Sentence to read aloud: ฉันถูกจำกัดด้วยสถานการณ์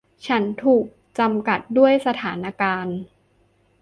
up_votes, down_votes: 2, 0